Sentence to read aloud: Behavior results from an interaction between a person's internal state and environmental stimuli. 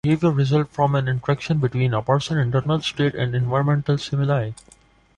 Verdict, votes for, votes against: accepted, 2, 1